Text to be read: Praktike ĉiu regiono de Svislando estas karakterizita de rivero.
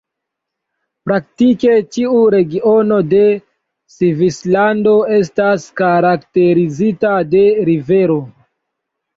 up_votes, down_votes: 2, 1